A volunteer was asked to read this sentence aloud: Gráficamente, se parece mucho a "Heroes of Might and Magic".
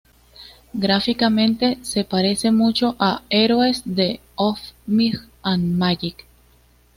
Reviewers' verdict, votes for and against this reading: rejected, 1, 2